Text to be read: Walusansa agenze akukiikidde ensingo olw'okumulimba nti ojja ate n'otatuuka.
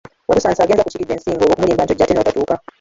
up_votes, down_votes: 0, 2